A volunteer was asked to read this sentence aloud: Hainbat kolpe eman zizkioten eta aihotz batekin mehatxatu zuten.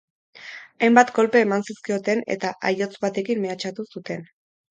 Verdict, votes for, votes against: accepted, 4, 0